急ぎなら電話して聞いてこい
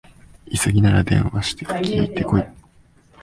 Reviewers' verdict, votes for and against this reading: rejected, 3, 4